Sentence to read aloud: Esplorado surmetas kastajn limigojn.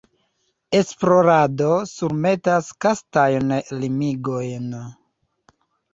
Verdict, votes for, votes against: rejected, 1, 2